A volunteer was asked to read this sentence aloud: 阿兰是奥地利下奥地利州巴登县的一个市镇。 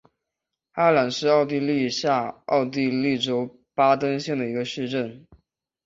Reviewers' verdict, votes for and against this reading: accepted, 3, 1